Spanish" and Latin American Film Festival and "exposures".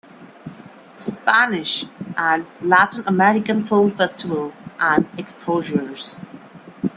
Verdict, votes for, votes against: accepted, 2, 0